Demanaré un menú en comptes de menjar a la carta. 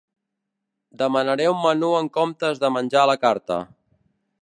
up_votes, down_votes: 2, 0